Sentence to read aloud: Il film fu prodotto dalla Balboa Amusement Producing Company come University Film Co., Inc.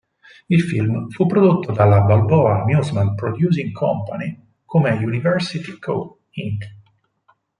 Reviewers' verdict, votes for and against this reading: rejected, 0, 4